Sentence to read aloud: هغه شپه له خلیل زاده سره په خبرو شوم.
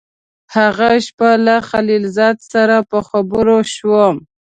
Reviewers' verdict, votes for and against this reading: accepted, 2, 1